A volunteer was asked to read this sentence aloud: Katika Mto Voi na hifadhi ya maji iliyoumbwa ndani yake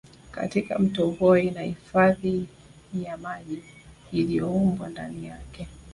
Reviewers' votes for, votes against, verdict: 3, 2, accepted